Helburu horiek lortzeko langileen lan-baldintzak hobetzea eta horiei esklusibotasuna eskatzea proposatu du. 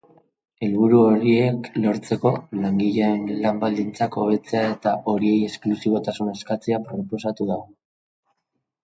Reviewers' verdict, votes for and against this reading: accepted, 2, 1